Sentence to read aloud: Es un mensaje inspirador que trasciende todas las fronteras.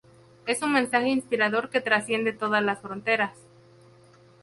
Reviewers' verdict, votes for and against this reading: accepted, 2, 0